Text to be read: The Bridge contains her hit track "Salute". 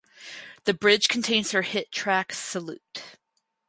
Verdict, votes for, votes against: accepted, 4, 0